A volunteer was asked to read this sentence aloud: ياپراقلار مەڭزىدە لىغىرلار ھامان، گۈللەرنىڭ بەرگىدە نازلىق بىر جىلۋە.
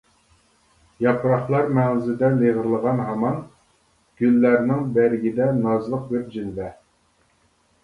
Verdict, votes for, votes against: accepted, 2, 1